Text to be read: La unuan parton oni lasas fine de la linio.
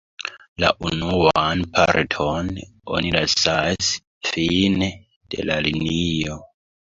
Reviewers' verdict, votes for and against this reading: rejected, 1, 2